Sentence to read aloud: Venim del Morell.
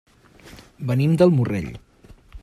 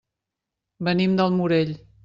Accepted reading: second